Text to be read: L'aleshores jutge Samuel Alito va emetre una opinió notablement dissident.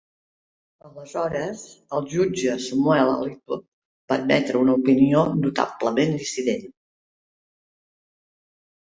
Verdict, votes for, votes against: rejected, 0, 2